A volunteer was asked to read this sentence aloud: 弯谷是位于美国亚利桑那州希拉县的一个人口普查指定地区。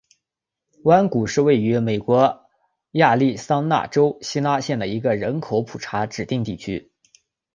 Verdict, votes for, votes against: accepted, 2, 1